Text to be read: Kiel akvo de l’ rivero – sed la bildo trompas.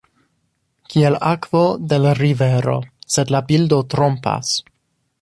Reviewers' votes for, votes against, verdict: 1, 2, rejected